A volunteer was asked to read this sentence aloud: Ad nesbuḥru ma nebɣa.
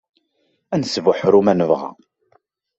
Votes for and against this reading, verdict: 2, 0, accepted